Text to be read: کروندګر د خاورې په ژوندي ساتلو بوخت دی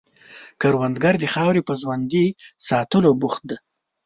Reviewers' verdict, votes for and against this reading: accepted, 2, 1